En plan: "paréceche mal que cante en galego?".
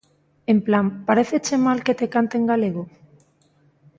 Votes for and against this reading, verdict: 0, 2, rejected